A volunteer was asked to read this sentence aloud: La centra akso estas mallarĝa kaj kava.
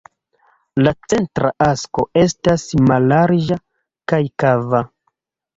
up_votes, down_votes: 0, 2